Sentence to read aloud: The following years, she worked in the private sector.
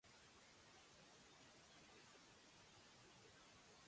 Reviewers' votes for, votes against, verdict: 0, 2, rejected